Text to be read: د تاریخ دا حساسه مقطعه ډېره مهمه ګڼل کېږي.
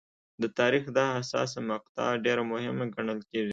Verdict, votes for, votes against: accepted, 2, 0